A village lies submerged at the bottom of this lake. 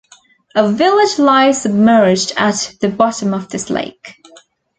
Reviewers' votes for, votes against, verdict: 2, 0, accepted